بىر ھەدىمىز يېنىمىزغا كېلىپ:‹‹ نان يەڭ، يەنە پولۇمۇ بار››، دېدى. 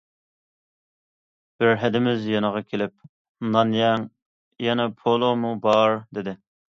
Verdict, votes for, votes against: rejected, 1, 2